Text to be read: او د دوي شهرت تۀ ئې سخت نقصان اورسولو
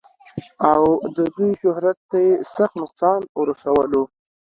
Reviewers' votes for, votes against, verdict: 2, 0, accepted